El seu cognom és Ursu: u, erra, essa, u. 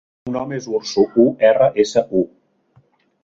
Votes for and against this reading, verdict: 0, 2, rejected